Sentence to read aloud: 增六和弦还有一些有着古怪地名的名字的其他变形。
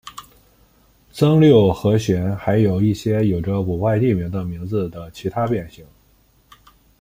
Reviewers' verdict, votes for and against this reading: accepted, 2, 0